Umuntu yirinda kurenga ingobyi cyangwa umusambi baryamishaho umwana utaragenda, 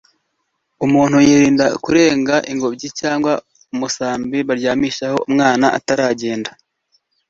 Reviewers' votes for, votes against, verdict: 1, 2, rejected